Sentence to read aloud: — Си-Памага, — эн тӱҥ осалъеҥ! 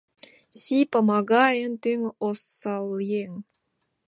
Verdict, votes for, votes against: rejected, 0, 2